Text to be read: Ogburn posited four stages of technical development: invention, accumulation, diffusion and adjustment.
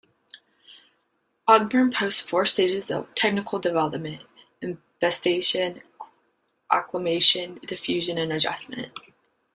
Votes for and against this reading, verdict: 1, 2, rejected